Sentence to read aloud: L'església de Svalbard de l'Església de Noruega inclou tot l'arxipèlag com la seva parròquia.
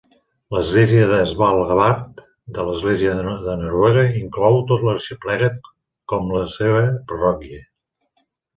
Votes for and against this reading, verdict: 1, 2, rejected